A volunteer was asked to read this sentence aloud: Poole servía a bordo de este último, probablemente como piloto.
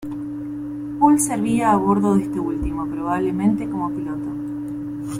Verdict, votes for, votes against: accepted, 2, 0